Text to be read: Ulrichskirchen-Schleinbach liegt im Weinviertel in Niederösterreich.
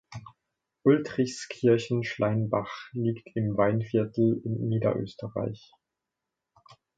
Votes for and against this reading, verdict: 1, 2, rejected